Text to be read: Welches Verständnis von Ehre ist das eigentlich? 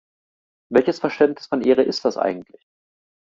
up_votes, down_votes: 2, 0